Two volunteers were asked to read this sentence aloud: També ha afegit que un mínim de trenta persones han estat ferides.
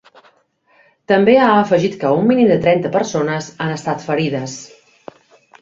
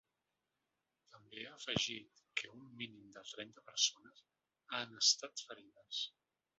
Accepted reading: first